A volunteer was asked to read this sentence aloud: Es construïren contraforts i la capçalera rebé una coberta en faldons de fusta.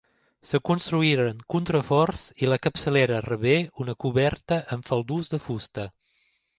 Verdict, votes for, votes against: accepted, 2, 1